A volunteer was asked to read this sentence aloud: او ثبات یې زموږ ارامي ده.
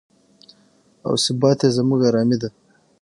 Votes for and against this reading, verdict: 3, 6, rejected